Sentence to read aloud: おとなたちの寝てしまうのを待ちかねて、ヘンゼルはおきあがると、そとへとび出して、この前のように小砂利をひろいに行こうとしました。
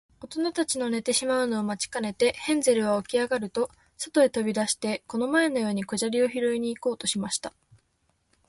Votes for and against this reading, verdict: 5, 0, accepted